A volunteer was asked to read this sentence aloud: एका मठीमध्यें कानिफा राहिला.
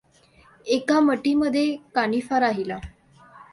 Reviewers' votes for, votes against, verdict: 2, 0, accepted